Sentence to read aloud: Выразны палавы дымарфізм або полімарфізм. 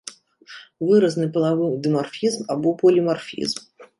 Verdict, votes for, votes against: rejected, 0, 2